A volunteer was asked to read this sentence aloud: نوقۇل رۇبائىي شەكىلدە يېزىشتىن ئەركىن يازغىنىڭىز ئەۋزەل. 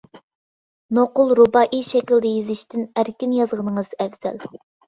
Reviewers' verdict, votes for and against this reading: accepted, 2, 0